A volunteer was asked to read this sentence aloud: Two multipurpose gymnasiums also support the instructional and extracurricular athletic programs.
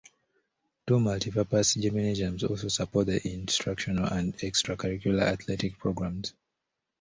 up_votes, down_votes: 2, 0